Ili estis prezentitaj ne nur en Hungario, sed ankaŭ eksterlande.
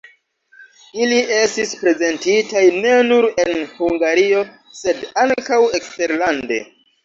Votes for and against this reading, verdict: 2, 0, accepted